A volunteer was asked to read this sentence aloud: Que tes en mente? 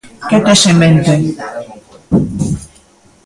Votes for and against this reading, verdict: 2, 1, accepted